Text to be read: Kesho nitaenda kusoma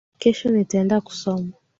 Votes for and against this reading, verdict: 3, 0, accepted